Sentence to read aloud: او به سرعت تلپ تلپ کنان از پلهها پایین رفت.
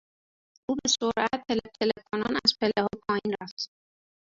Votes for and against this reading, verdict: 0, 2, rejected